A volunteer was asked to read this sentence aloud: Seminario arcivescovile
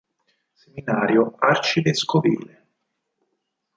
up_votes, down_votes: 2, 4